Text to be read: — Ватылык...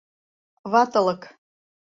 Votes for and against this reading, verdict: 2, 0, accepted